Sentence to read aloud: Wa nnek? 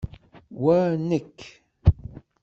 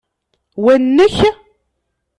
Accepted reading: second